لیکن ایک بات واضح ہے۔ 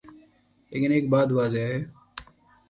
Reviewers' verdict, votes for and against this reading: accepted, 2, 0